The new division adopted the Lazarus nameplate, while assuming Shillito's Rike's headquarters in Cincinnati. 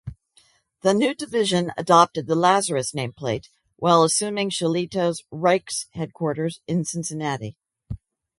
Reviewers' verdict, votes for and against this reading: accepted, 4, 0